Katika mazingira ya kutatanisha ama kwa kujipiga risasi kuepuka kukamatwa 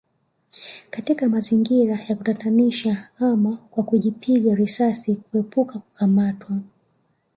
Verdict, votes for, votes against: rejected, 1, 2